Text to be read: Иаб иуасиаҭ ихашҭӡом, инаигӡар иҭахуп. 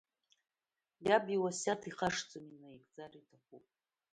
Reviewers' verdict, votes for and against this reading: rejected, 0, 2